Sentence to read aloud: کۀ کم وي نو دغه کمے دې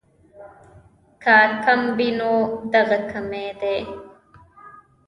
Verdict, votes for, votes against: rejected, 1, 2